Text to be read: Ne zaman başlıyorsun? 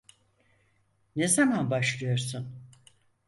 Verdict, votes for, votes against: accepted, 4, 0